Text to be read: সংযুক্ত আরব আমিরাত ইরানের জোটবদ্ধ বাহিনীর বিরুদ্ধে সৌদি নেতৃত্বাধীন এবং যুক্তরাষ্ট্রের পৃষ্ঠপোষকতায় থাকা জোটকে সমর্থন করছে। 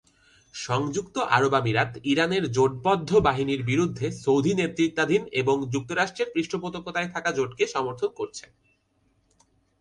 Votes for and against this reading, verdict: 0, 2, rejected